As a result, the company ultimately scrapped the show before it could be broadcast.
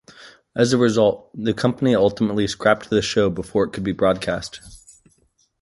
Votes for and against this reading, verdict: 1, 2, rejected